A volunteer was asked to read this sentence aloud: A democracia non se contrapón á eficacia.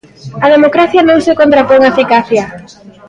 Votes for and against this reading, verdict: 2, 0, accepted